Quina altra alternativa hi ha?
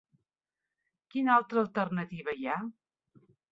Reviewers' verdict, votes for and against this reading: accepted, 2, 0